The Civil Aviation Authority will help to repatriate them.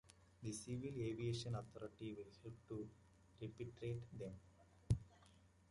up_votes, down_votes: 0, 2